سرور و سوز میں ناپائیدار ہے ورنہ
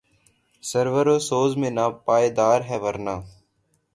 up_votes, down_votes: 6, 0